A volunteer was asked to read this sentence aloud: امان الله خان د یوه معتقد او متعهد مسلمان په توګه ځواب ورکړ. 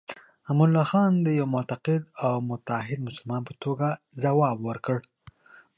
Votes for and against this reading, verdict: 2, 0, accepted